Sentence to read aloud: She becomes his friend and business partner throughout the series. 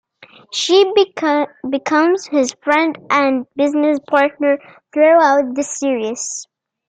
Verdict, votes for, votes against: accepted, 2, 1